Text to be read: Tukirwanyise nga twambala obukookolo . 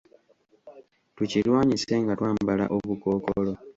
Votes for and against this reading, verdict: 1, 2, rejected